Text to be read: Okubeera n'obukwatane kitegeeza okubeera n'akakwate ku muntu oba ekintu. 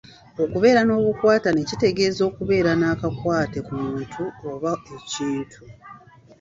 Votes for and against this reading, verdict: 2, 0, accepted